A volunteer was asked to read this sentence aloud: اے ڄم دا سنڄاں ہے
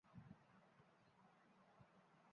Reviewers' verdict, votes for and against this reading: rejected, 0, 2